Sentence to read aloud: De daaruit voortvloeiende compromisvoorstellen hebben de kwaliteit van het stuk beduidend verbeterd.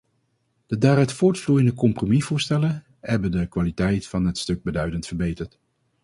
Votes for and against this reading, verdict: 2, 0, accepted